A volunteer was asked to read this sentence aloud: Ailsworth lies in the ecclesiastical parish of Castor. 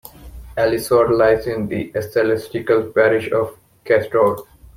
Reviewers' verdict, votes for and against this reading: rejected, 1, 2